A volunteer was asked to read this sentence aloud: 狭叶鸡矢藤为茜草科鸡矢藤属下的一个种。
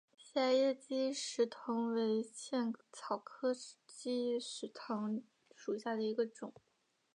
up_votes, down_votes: 2, 3